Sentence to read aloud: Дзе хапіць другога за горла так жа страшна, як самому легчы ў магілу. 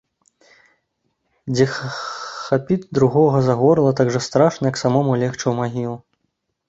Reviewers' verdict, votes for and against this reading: rejected, 0, 2